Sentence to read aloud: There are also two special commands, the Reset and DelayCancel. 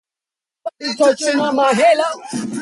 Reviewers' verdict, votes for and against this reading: rejected, 0, 2